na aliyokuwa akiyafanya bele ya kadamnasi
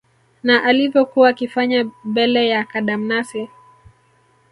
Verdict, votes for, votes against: rejected, 1, 2